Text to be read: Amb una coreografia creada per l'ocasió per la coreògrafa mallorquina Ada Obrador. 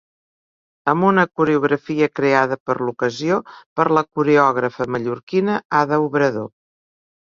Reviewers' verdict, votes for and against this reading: accepted, 3, 0